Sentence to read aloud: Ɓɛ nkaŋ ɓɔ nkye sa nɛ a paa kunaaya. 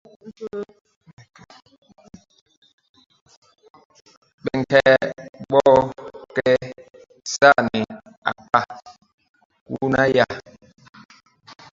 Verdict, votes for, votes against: rejected, 0, 2